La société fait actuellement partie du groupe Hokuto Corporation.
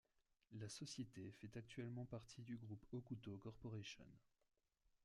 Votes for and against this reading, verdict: 2, 1, accepted